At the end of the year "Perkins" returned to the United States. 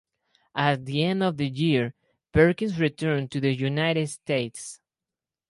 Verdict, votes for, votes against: accepted, 4, 0